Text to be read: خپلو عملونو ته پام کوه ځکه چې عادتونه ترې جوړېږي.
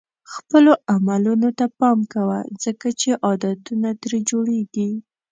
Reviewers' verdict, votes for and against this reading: accepted, 2, 0